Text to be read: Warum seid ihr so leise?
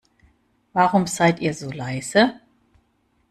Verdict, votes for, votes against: accepted, 2, 0